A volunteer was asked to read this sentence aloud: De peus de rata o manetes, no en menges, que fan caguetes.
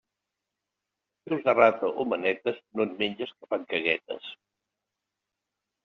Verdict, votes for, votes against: rejected, 0, 2